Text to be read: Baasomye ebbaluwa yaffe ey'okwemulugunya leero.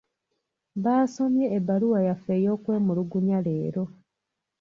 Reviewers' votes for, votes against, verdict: 2, 0, accepted